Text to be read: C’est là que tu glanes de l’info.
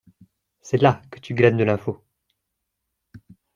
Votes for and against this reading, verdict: 2, 0, accepted